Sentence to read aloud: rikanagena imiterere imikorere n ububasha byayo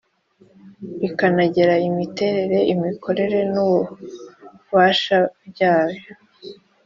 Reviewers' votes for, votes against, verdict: 2, 0, accepted